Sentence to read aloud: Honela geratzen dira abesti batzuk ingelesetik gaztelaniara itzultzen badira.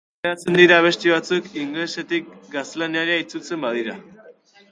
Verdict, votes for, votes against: rejected, 2, 2